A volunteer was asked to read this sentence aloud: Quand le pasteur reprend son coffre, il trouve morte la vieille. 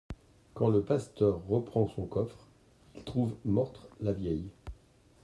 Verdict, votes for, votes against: rejected, 0, 2